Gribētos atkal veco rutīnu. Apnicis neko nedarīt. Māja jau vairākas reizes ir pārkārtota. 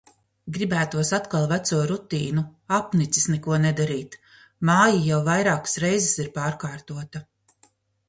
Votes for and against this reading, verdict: 2, 0, accepted